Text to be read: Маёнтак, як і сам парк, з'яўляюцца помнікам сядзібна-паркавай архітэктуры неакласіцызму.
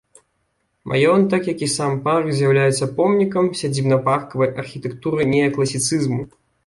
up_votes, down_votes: 2, 0